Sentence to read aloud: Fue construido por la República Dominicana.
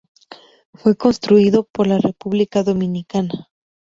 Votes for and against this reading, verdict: 2, 0, accepted